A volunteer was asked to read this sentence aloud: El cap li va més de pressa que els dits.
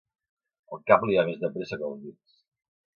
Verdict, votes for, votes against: rejected, 2, 2